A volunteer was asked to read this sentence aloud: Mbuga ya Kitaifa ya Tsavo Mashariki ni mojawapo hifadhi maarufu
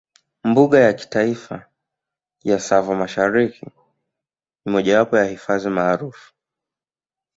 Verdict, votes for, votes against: accepted, 2, 0